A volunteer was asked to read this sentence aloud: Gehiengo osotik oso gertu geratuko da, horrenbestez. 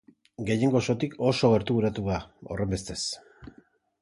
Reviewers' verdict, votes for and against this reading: rejected, 0, 2